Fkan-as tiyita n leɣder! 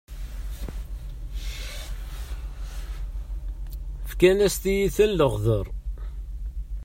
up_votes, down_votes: 1, 2